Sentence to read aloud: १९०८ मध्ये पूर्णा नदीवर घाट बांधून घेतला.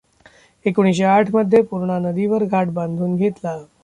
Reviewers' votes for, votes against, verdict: 0, 2, rejected